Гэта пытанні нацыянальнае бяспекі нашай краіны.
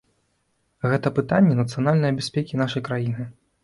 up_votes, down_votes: 2, 0